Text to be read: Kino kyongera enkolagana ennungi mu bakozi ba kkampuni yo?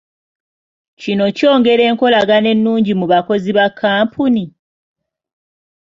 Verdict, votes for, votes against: rejected, 1, 2